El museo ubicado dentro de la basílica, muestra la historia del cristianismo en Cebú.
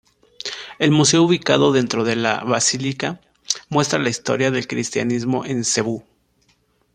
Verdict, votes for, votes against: accepted, 2, 0